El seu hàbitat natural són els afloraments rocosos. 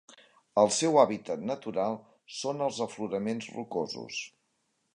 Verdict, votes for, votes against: accepted, 3, 0